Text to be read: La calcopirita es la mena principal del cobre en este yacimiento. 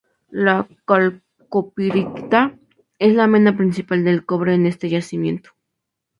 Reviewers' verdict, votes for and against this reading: accepted, 2, 0